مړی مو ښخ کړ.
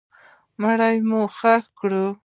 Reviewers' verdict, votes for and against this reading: rejected, 1, 2